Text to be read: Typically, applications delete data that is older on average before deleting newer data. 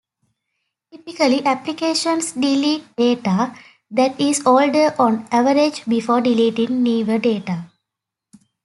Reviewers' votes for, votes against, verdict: 2, 0, accepted